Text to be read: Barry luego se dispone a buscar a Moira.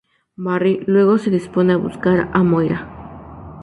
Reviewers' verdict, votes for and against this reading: rejected, 0, 4